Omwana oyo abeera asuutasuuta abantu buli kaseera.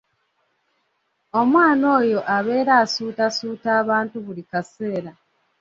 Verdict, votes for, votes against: accepted, 3, 0